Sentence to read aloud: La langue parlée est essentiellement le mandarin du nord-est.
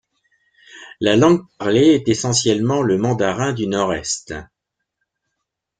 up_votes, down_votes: 1, 2